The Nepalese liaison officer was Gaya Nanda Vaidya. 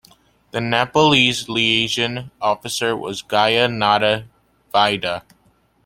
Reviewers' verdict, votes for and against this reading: accepted, 2, 1